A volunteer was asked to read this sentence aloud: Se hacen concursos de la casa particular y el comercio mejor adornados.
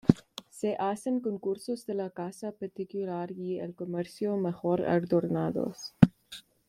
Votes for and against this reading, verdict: 2, 0, accepted